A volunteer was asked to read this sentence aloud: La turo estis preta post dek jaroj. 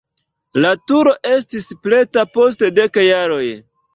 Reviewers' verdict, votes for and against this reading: accepted, 2, 0